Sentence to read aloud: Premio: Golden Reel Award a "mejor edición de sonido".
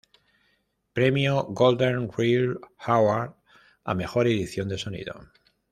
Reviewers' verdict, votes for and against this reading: rejected, 1, 2